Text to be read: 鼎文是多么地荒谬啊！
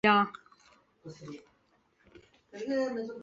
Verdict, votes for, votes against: rejected, 0, 3